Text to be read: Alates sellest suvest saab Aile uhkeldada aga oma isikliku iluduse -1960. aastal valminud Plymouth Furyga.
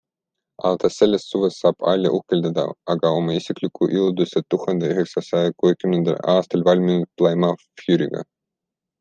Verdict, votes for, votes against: rejected, 0, 2